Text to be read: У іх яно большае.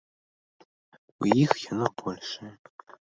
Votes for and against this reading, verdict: 2, 0, accepted